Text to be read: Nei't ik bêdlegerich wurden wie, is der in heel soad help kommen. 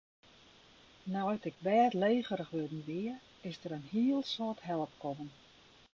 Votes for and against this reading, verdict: 1, 2, rejected